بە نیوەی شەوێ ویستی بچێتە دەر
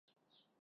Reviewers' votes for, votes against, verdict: 0, 2, rejected